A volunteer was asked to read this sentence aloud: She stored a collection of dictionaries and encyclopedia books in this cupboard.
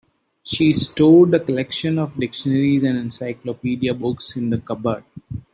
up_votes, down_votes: 0, 2